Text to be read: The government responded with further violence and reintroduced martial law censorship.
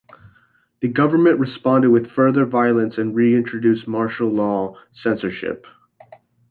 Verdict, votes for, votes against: accepted, 2, 0